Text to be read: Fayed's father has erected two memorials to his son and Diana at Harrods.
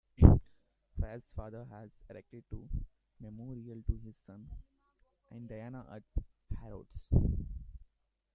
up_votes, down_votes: 0, 2